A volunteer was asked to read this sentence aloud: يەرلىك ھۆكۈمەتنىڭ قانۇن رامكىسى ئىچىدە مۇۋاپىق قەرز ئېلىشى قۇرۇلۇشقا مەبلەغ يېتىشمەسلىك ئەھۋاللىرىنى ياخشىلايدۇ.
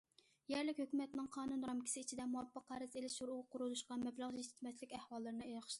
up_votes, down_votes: 1, 2